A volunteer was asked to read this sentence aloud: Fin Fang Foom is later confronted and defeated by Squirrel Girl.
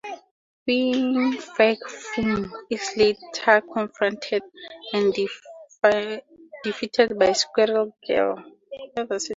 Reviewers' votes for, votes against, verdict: 0, 2, rejected